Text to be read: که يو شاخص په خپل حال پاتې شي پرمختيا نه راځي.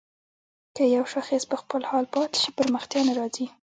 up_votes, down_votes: 1, 2